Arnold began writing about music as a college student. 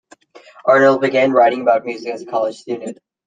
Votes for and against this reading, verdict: 2, 0, accepted